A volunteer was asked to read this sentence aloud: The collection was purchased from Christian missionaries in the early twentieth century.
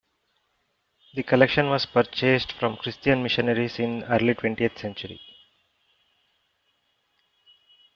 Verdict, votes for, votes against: rejected, 1, 2